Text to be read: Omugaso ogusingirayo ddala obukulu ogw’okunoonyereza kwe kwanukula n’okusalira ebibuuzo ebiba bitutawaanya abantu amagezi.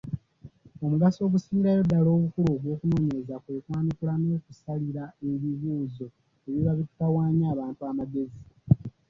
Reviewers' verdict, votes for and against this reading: accepted, 2, 0